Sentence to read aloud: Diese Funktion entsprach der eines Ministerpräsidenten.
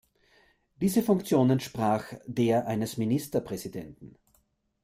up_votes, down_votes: 2, 0